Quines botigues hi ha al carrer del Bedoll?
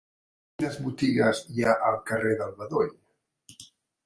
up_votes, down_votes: 0, 2